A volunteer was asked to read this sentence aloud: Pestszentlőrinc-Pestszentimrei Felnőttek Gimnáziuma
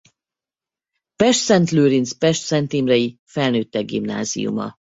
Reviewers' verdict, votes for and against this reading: accepted, 2, 0